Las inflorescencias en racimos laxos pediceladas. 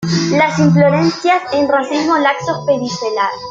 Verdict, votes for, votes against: rejected, 1, 2